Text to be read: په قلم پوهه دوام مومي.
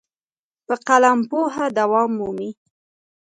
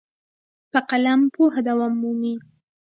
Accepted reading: second